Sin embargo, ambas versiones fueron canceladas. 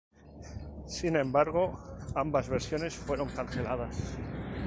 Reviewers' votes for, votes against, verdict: 2, 2, rejected